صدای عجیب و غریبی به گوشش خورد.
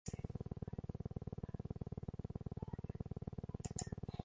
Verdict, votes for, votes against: rejected, 0, 2